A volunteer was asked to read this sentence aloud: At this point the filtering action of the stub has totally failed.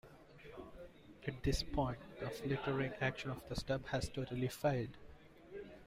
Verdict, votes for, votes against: accepted, 2, 1